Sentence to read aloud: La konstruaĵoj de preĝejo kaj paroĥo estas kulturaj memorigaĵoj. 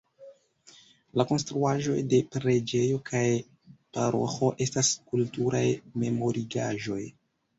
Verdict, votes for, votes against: accepted, 3, 2